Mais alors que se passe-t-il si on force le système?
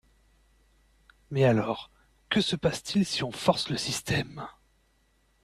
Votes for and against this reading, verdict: 2, 0, accepted